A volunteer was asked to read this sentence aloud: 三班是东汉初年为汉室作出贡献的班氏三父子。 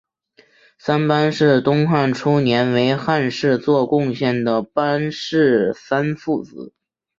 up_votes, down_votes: 0, 2